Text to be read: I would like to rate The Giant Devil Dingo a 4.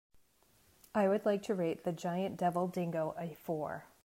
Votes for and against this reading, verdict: 0, 2, rejected